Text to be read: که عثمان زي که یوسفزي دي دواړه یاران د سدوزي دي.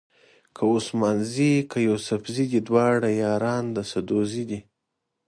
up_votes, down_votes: 2, 0